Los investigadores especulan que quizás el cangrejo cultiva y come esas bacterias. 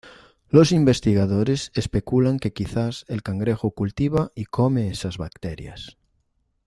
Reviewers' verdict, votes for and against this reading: accepted, 2, 0